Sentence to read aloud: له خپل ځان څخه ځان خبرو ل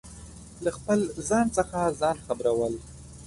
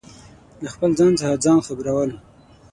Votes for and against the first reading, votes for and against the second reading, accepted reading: 2, 0, 3, 6, first